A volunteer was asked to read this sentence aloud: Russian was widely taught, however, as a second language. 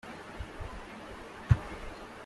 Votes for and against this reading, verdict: 0, 2, rejected